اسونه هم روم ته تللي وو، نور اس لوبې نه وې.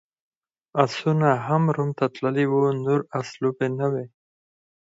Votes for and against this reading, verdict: 4, 0, accepted